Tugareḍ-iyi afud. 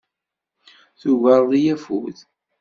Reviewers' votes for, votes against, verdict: 2, 0, accepted